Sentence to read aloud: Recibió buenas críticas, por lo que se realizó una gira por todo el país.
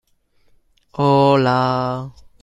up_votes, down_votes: 0, 2